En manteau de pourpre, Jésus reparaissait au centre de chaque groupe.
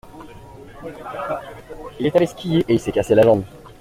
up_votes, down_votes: 0, 2